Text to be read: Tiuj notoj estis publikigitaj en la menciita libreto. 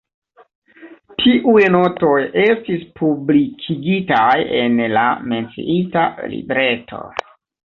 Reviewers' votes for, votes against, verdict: 1, 2, rejected